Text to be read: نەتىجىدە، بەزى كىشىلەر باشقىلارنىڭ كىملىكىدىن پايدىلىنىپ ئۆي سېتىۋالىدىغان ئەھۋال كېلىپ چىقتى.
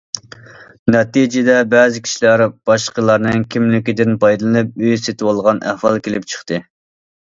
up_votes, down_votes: 1, 2